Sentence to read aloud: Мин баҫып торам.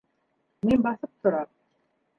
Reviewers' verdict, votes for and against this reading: accepted, 2, 0